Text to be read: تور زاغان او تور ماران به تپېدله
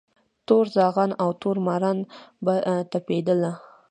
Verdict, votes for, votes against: accepted, 2, 1